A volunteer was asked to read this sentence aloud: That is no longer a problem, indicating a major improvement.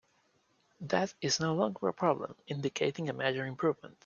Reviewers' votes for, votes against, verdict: 2, 1, accepted